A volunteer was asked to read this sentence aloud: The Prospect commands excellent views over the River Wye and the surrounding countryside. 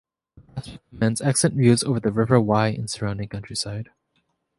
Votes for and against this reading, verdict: 0, 2, rejected